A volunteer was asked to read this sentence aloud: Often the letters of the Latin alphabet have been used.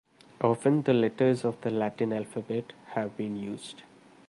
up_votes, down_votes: 2, 0